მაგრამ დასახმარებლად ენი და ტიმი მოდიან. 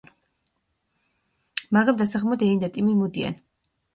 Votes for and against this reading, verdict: 1, 2, rejected